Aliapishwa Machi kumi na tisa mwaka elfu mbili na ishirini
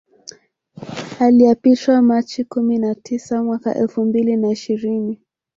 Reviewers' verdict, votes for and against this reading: accepted, 3, 1